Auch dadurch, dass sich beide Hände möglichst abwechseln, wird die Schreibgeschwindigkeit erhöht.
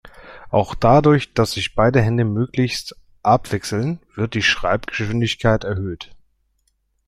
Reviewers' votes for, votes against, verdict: 2, 0, accepted